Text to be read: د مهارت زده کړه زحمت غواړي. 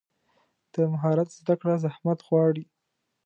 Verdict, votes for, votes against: accepted, 2, 0